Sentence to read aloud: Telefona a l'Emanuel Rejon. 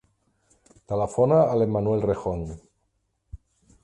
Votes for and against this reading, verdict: 6, 0, accepted